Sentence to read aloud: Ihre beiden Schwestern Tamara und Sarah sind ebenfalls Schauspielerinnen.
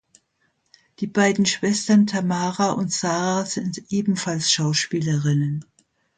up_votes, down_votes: 0, 2